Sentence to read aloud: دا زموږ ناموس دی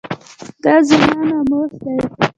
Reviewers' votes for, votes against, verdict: 1, 2, rejected